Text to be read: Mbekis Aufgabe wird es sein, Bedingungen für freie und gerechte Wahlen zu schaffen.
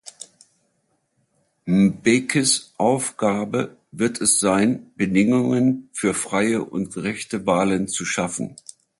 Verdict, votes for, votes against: rejected, 1, 2